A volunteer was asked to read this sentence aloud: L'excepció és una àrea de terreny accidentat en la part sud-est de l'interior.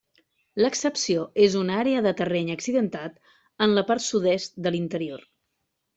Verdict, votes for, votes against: accepted, 3, 0